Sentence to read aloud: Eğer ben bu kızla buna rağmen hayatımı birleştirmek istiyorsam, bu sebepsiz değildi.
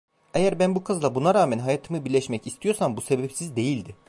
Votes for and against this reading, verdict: 0, 2, rejected